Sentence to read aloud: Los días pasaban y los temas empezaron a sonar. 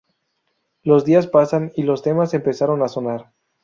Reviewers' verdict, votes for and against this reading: rejected, 0, 2